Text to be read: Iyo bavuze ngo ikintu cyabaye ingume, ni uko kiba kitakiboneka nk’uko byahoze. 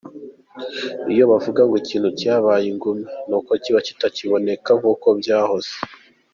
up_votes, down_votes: 2, 1